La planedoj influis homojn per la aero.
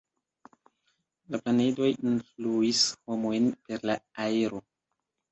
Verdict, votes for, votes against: accepted, 2, 0